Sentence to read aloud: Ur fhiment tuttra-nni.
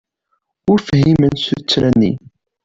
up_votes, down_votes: 2, 0